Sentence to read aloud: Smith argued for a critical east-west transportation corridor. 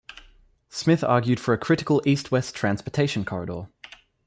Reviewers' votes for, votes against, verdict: 2, 0, accepted